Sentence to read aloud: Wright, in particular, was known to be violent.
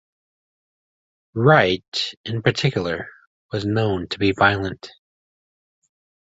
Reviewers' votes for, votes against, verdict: 2, 0, accepted